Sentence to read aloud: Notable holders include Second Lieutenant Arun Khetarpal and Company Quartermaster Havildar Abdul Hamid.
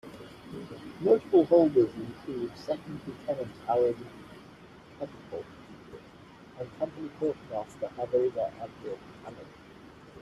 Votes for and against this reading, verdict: 0, 2, rejected